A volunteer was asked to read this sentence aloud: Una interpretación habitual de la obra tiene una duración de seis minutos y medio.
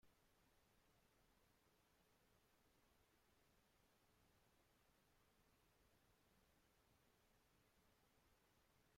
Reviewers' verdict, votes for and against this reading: rejected, 0, 2